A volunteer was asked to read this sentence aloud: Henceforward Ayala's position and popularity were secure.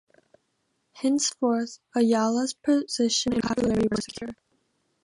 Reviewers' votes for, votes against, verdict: 0, 2, rejected